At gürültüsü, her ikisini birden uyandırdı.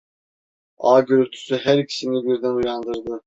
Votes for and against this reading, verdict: 0, 2, rejected